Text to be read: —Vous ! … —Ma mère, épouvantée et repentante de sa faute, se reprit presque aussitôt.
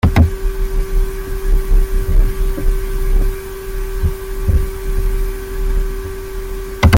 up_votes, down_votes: 0, 2